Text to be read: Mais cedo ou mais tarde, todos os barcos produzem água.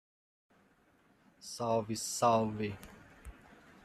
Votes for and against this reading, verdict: 0, 2, rejected